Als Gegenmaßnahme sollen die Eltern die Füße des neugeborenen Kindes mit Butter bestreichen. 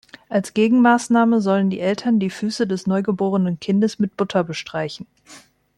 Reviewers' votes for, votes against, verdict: 0, 2, rejected